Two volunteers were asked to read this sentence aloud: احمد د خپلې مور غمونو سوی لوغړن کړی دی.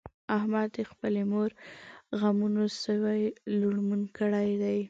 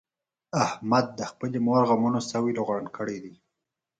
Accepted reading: second